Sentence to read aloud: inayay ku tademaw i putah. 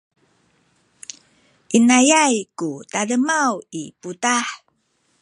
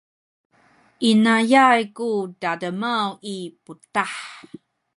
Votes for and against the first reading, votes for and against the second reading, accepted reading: 1, 2, 2, 0, second